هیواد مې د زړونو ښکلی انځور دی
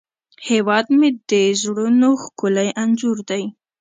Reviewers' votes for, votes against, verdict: 2, 0, accepted